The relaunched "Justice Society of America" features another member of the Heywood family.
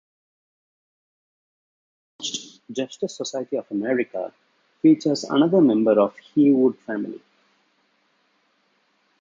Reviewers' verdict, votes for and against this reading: rejected, 1, 2